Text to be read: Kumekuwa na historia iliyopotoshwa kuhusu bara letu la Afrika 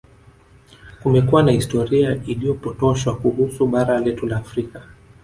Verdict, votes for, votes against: rejected, 1, 2